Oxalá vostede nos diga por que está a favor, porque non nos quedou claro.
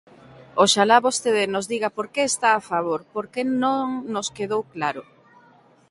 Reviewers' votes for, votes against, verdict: 2, 0, accepted